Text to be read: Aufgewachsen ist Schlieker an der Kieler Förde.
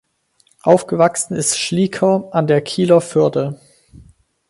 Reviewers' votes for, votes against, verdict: 4, 0, accepted